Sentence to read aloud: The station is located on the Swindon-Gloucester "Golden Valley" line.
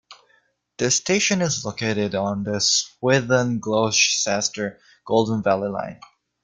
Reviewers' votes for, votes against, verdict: 1, 2, rejected